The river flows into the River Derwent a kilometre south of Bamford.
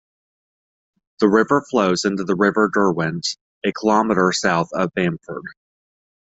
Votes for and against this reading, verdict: 2, 0, accepted